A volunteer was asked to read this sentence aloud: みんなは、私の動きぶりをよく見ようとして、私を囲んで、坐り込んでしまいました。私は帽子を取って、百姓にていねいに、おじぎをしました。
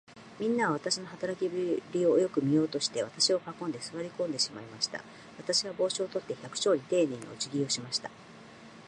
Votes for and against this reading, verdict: 0, 2, rejected